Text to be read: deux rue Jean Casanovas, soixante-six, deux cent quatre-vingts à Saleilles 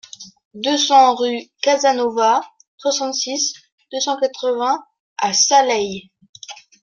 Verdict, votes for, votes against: rejected, 0, 2